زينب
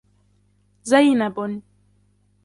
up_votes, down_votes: 2, 0